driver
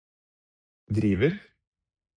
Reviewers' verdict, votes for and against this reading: accepted, 4, 0